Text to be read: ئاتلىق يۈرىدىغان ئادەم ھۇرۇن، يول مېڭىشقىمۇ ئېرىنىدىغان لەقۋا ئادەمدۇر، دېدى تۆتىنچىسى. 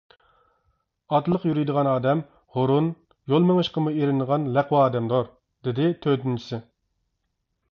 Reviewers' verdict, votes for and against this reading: accepted, 2, 1